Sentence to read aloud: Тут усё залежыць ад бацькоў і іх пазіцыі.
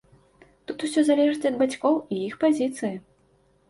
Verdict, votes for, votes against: accepted, 2, 0